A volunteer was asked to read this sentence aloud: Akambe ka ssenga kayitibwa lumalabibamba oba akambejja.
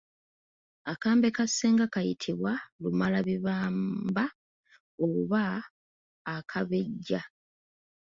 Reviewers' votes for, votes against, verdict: 0, 2, rejected